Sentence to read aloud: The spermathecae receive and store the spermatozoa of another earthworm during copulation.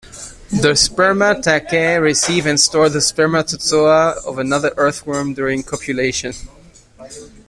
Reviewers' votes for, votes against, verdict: 1, 2, rejected